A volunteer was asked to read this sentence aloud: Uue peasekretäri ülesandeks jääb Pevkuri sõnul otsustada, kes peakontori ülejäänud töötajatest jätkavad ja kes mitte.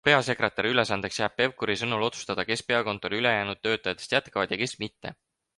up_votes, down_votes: 2, 6